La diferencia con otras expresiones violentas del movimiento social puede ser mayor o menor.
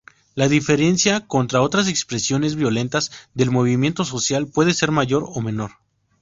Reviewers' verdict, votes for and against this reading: rejected, 2, 2